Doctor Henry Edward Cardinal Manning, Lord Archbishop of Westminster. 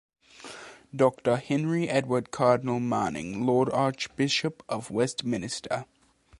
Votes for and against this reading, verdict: 1, 2, rejected